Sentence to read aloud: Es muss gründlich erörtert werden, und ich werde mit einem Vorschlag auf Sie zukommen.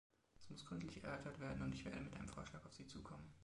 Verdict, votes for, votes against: rejected, 0, 2